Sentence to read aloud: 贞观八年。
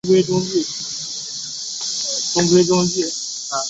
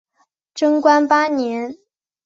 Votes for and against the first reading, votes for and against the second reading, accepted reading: 1, 3, 3, 0, second